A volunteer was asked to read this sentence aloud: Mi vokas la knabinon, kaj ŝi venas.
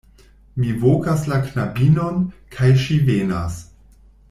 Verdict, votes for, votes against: accepted, 2, 0